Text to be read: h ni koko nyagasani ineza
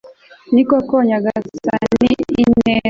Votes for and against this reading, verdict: 2, 3, rejected